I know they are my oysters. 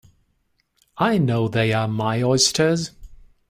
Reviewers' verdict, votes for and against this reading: accepted, 2, 0